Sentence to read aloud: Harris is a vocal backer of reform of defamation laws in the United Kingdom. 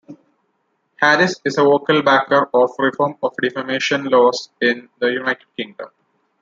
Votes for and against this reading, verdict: 1, 2, rejected